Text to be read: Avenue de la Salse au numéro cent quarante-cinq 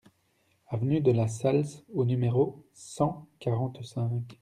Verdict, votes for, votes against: accepted, 2, 0